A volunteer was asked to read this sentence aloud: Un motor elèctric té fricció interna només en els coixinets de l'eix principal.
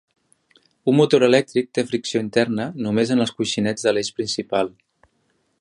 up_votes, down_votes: 6, 0